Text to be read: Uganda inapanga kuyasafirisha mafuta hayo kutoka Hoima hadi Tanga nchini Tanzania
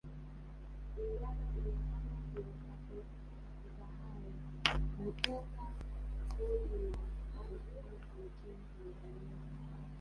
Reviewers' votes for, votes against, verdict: 1, 4, rejected